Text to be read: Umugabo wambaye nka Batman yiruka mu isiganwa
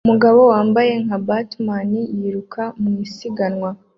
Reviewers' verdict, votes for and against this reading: accepted, 2, 0